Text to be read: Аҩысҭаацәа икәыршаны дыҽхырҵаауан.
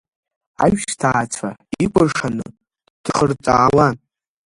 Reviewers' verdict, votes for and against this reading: rejected, 0, 2